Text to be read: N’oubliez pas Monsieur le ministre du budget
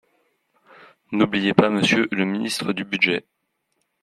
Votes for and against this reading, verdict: 3, 0, accepted